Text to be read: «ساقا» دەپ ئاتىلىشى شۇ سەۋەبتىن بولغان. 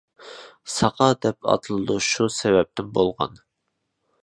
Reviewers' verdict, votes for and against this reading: rejected, 1, 2